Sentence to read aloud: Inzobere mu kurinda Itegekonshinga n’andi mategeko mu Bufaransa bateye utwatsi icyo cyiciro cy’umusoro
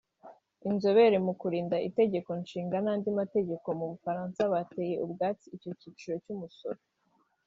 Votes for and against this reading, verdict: 2, 1, accepted